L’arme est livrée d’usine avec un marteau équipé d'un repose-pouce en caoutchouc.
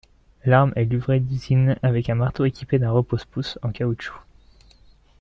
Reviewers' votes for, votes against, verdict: 2, 0, accepted